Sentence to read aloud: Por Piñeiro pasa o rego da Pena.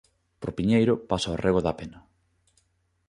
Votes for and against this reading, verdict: 2, 0, accepted